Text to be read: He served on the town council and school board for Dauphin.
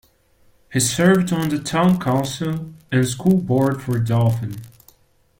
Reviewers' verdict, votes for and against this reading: accepted, 2, 0